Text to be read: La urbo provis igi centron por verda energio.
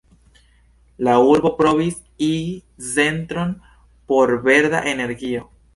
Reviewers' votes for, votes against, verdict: 2, 0, accepted